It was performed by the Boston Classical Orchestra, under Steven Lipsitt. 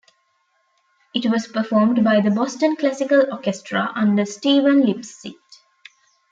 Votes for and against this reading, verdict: 2, 0, accepted